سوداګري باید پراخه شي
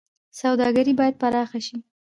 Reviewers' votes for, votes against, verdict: 2, 1, accepted